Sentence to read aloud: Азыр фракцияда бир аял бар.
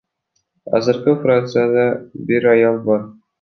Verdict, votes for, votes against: rejected, 1, 2